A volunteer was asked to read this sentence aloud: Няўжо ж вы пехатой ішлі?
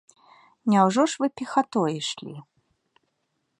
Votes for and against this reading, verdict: 3, 0, accepted